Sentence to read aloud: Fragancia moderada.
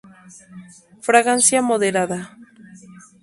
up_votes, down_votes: 0, 2